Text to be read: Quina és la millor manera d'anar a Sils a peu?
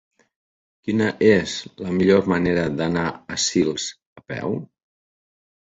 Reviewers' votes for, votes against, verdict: 3, 1, accepted